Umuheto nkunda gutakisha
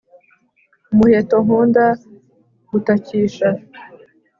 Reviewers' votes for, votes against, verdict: 2, 0, accepted